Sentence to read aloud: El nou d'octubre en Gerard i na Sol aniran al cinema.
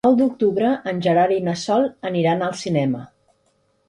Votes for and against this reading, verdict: 0, 2, rejected